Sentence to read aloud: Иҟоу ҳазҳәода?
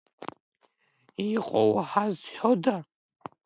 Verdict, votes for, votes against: rejected, 1, 2